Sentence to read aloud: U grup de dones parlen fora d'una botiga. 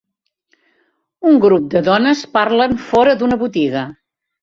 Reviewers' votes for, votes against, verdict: 0, 2, rejected